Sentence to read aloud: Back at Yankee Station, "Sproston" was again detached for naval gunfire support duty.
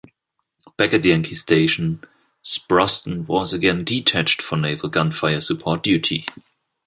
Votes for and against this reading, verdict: 2, 0, accepted